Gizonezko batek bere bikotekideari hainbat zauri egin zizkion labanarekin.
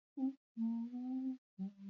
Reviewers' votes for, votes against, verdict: 0, 4, rejected